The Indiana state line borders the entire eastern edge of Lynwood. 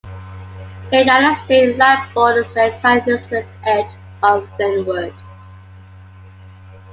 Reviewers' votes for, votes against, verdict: 1, 2, rejected